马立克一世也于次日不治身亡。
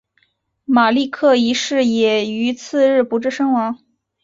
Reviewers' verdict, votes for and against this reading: accepted, 3, 1